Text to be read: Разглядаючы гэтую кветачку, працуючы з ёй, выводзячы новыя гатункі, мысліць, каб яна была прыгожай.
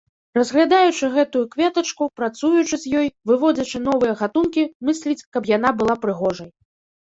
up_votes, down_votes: 2, 0